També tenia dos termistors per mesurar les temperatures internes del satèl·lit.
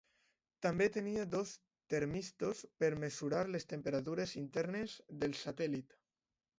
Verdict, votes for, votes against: accepted, 2, 1